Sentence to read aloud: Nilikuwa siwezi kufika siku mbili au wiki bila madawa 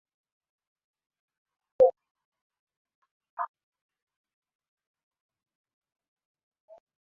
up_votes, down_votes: 0, 3